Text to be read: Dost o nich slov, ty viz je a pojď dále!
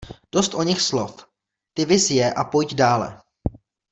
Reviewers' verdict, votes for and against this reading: accepted, 2, 0